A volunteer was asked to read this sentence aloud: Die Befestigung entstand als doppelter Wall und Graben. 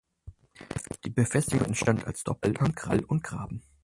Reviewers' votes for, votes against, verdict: 0, 4, rejected